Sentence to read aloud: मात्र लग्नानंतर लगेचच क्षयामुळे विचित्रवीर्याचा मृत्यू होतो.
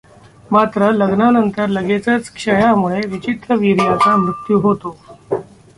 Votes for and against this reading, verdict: 1, 2, rejected